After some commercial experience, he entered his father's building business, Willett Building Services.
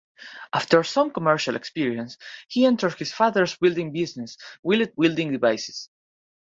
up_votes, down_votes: 0, 2